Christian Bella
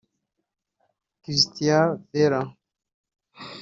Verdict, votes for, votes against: rejected, 1, 2